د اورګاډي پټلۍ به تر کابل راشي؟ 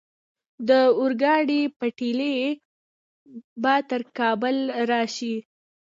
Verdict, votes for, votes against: accepted, 2, 1